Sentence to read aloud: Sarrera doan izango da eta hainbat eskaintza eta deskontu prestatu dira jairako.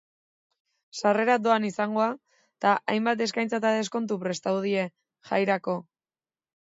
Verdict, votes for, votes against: rejected, 0, 2